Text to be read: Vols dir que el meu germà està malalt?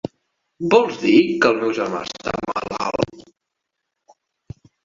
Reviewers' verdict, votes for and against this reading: accepted, 3, 2